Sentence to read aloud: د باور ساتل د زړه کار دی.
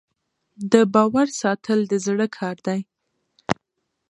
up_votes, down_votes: 2, 0